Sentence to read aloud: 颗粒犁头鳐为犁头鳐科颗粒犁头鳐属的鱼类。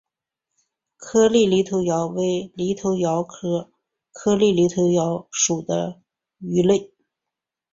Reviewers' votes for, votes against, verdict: 3, 0, accepted